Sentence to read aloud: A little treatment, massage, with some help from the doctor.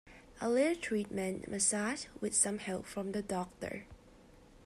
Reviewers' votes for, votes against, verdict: 1, 2, rejected